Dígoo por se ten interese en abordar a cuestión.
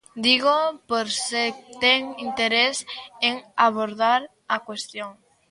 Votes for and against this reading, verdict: 0, 2, rejected